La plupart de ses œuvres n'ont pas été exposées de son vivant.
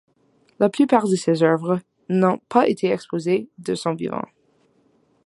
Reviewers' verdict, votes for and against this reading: accepted, 2, 0